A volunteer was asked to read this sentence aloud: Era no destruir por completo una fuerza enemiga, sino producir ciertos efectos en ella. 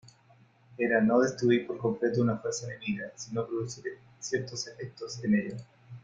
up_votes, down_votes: 2, 0